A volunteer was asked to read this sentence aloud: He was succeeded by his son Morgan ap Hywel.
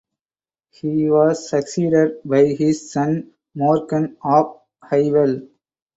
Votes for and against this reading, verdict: 2, 2, rejected